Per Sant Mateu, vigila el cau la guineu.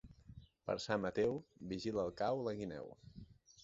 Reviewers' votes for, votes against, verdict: 2, 0, accepted